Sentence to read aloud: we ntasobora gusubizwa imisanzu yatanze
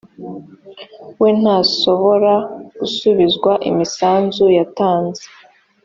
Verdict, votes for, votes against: accepted, 3, 0